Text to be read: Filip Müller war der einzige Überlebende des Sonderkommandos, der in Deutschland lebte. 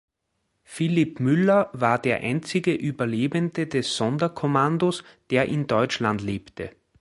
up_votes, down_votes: 3, 0